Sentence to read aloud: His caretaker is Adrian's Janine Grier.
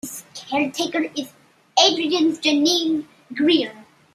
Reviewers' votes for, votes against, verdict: 2, 1, accepted